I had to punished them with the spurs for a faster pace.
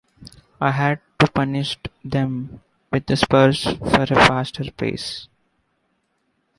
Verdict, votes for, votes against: accepted, 2, 1